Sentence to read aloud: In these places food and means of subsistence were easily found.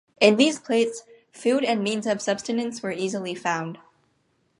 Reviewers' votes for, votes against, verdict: 0, 4, rejected